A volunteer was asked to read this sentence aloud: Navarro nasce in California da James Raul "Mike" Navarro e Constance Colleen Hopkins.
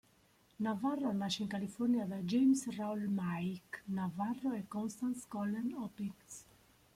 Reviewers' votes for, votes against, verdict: 0, 2, rejected